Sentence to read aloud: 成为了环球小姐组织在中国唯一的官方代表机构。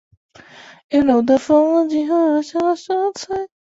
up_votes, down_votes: 0, 2